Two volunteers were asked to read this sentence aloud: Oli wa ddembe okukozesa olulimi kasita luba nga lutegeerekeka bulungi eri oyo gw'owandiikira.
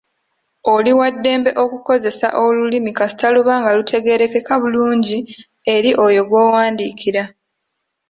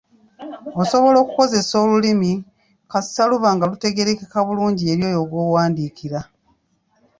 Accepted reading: first